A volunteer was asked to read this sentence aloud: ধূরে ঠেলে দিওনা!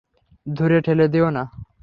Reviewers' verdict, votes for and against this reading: accepted, 3, 0